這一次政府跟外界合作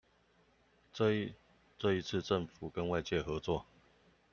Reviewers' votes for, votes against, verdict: 0, 2, rejected